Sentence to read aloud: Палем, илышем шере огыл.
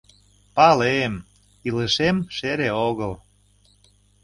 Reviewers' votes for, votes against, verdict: 2, 0, accepted